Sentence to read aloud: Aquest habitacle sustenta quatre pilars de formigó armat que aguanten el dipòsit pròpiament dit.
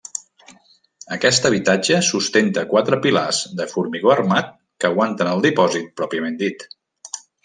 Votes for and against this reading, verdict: 0, 2, rejected